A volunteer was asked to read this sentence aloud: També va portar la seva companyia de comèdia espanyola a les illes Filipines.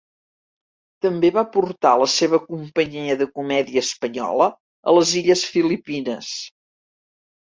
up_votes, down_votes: 1, 2